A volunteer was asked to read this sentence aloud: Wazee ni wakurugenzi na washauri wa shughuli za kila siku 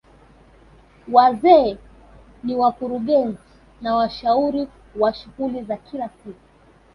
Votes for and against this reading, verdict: 1, 2, rejected